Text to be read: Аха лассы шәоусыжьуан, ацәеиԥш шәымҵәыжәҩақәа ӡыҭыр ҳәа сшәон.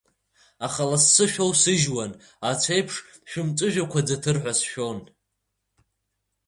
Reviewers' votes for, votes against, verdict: 2, 0, accepted